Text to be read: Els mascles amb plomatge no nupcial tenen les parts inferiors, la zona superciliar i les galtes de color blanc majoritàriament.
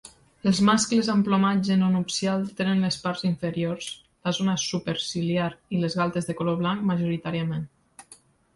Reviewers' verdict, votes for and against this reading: accepted, 2, 0